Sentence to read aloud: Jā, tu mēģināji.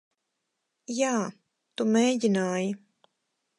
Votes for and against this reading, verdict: 2, 2, rejected